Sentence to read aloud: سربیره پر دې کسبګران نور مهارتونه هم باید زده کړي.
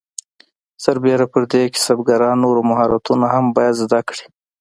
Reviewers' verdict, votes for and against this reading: accepted, 2, 0